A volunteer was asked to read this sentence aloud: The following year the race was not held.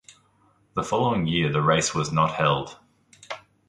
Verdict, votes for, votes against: accepted, 2, 0